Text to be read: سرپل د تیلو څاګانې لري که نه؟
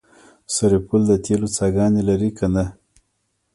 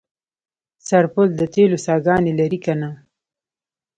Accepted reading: first